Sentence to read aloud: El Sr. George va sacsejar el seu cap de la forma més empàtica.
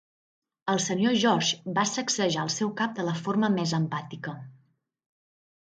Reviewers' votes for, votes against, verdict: 2, 0, accepted